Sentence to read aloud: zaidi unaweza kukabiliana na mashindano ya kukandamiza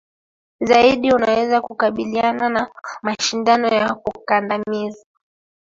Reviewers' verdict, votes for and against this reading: accepted, 3, 0